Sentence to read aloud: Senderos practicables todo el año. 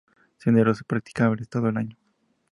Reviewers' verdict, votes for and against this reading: accepted, 2, 0